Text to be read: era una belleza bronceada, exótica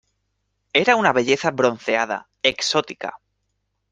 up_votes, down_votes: 2, 0